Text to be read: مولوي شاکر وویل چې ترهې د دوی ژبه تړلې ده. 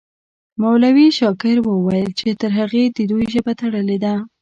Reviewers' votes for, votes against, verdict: 1, 2, rejected